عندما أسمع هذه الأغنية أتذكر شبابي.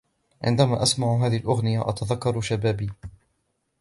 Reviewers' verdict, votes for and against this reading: accepted, 2, 0